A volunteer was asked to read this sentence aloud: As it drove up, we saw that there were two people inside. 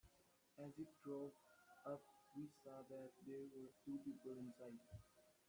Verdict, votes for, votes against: rejected, 0, 2